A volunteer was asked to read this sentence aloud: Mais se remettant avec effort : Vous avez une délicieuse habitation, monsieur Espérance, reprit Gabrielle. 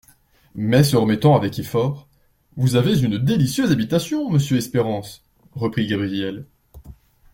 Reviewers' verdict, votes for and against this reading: accepted, 2, 0